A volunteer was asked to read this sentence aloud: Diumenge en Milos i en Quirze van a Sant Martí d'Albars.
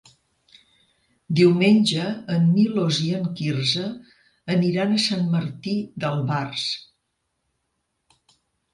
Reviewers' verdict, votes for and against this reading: rejected, 0, 3